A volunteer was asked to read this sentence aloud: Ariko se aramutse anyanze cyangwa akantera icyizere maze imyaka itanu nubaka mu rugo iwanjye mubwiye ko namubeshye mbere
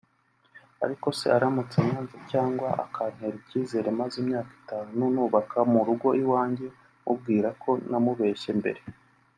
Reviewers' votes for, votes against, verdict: 2, 1, accepted